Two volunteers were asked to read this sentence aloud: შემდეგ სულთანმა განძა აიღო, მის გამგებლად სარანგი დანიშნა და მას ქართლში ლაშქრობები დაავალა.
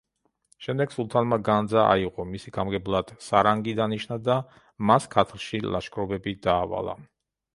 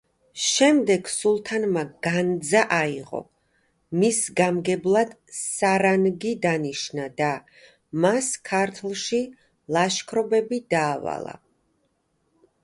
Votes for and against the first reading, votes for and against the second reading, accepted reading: 1, 3, 2, 0, second